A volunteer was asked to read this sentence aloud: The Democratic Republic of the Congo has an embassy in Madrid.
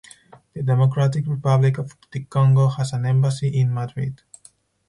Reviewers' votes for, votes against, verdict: 4, 0, accepted